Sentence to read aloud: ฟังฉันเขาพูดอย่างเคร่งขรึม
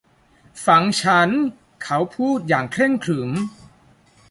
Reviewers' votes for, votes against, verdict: 1, 2, rejected